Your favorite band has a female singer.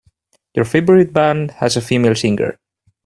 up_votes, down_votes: 2, 1